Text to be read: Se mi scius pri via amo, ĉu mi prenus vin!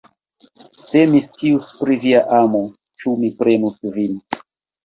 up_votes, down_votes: 1, 2